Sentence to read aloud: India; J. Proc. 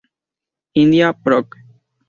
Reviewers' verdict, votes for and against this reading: accepted, 2, 0